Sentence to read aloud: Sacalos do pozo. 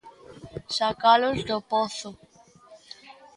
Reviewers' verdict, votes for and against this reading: accepted, 2, 0